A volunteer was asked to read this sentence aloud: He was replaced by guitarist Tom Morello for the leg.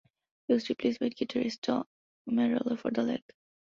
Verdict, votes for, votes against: accepted, 2, 1